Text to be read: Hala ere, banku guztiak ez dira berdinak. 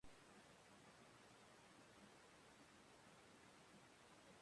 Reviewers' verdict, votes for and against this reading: rejected, 0, 2